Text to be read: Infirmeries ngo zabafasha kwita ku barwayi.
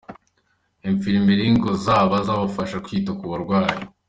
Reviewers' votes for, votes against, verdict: 2, 0, accepted